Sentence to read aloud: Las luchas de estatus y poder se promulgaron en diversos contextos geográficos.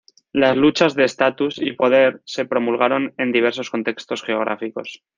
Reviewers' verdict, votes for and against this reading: accepted, 2, 0